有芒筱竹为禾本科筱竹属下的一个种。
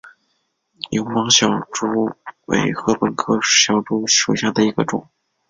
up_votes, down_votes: 3, 1